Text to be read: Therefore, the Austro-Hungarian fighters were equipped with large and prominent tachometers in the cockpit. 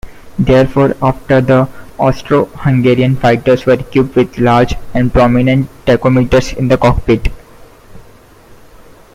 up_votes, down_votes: 0, 2